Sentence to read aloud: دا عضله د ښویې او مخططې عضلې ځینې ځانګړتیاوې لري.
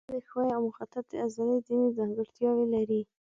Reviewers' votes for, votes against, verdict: 0, 2, rejected